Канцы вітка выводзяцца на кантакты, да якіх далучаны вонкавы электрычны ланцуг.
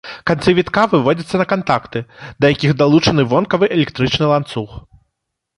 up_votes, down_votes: 2, 0